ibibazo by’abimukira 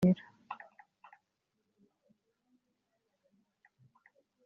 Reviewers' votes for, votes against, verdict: 0, 2, rejected